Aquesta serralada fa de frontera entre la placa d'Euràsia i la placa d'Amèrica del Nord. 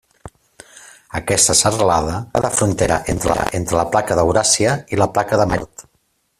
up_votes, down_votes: 0, 2